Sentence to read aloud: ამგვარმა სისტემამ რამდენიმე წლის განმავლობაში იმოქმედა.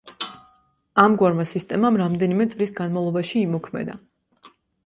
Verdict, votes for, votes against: accepted, 2, 0